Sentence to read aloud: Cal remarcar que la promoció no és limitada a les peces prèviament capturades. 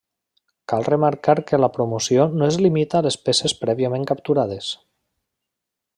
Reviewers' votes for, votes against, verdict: 0, 2, rejected